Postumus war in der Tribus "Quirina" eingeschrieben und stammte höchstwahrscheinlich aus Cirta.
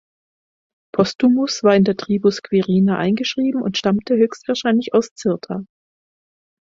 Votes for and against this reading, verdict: 4, 0, accepted